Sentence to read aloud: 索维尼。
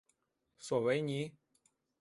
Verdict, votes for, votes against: accepted, 2, 0